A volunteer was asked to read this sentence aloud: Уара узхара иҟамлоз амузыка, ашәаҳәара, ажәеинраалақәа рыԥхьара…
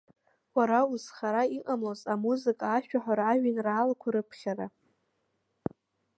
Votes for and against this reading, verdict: 2, 1, accepted